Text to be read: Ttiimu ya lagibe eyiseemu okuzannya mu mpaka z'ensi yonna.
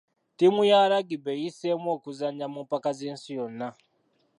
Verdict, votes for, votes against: accepted, 2, 0